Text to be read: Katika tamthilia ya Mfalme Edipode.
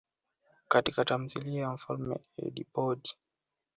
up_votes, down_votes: 0, 2